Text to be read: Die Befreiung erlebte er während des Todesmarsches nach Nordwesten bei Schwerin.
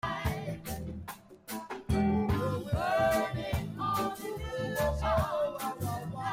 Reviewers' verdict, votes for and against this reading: rejected, 0, 2